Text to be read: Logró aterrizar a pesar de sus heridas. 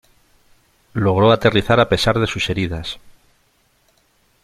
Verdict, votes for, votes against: accepted, 3, 0